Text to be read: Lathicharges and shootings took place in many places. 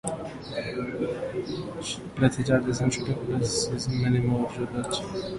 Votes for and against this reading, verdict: 0, 2, rejected